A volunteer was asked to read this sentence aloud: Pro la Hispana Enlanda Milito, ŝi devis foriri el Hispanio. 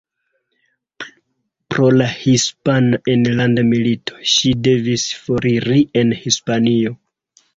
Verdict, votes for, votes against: accepted, 2, 1